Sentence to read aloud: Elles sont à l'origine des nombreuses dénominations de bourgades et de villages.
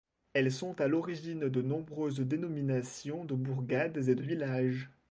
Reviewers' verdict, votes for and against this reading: rejected, 0, 2